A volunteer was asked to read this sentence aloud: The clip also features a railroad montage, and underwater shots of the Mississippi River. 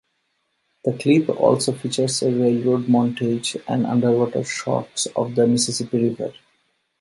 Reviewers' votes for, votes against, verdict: 0, 2, rejected